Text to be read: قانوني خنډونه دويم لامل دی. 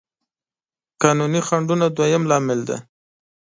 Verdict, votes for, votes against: accepted, 2, 0